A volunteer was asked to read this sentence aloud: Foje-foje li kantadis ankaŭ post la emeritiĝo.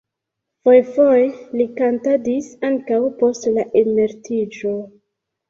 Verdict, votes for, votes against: accepted, 2, 0